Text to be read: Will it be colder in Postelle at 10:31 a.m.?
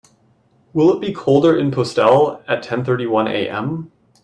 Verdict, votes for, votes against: rejected, 0, 2